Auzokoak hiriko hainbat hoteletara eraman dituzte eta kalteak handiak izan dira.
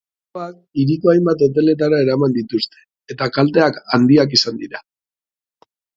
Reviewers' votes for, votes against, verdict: 2, 3, rejected